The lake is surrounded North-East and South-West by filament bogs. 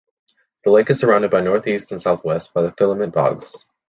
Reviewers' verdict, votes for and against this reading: rejected, 0, 2